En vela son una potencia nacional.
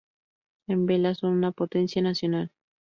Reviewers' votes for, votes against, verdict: 4, 0, accepted